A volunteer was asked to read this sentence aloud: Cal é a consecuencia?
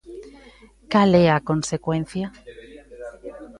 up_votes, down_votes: 2, 0